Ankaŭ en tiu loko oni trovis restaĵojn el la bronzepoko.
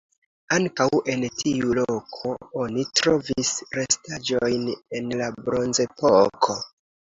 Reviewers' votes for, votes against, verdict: 1, 2, rejected